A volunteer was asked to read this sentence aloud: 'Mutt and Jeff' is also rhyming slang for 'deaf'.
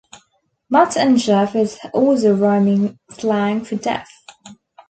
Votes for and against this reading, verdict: 1, 2, rejected